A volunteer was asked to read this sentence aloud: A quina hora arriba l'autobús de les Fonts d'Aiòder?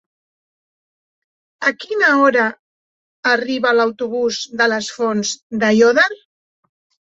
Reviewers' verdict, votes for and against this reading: rejected, 1, 2